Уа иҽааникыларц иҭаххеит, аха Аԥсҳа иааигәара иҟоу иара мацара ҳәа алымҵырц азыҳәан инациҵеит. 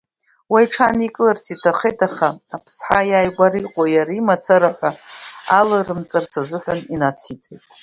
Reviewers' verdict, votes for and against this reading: rejected, 1, 2